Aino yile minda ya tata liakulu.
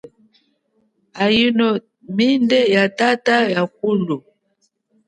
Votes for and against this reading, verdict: 2, 1, accepted